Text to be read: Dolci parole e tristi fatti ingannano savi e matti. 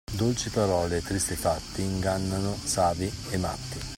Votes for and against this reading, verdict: 2, 0, accepted